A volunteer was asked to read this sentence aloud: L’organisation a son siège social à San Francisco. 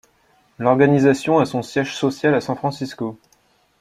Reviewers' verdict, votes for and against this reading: accepted, 2, 0